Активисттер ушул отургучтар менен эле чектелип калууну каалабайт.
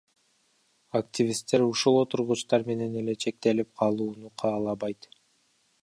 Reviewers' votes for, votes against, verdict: 0, 2, rejected